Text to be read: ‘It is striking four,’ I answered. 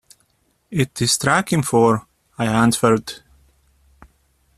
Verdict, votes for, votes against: accepted, 2, 1